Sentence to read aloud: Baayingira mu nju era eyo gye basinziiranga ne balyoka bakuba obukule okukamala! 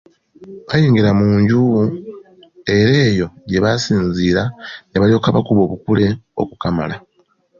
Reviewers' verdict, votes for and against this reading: rejected, 1, 2